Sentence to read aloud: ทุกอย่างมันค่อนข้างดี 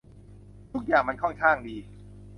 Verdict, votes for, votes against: accepted, 2, 0